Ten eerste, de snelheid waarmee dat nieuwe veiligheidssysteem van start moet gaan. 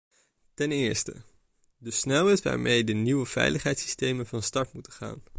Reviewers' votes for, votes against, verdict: 1, 2, rejected